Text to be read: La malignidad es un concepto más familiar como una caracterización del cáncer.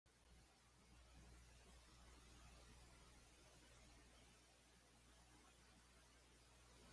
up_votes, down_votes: 2, 0